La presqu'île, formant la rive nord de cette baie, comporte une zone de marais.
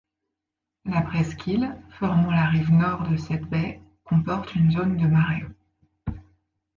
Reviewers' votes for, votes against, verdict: 2, 0, accepted